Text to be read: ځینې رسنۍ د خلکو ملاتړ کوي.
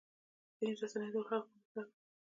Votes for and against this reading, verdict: 2, 0, accepted